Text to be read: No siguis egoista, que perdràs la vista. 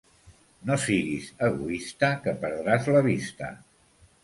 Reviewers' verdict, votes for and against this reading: accepted, 2, 0